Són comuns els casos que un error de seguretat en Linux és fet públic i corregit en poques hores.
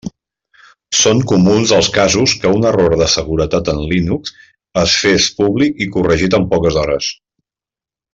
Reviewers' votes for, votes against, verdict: 1, 2, rejected